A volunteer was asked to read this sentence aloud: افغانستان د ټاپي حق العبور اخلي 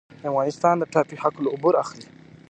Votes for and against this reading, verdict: 0, 2, rejected